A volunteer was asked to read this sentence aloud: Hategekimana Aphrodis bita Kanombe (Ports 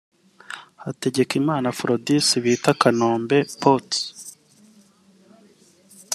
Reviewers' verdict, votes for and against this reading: rejected, 1, 2